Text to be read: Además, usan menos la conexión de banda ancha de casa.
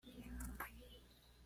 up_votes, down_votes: 1, 2